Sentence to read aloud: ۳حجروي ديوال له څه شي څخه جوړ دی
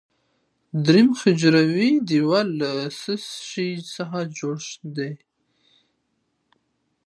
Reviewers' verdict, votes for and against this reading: rejected, 0, 2